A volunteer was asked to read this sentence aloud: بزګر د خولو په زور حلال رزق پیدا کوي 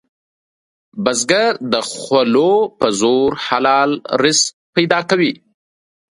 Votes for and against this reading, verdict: 2, 0, accepted